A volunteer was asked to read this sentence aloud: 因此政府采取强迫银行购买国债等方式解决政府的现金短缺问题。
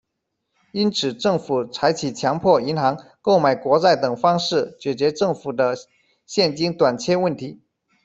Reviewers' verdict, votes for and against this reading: accepted, 2, 1